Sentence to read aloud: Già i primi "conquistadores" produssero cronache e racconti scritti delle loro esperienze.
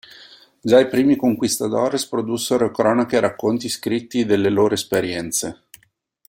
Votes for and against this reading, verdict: 3, 0, accepted